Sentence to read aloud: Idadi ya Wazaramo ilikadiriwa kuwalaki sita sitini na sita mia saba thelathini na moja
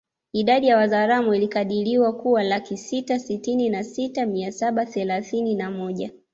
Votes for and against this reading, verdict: 2, 1, accepted